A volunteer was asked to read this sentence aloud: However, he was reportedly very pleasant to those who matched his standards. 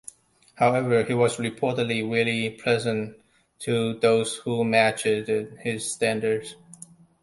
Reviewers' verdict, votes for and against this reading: rejected, 0, 2